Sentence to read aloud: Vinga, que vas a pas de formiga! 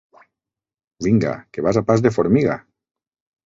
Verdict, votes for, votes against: accepted, 3, 0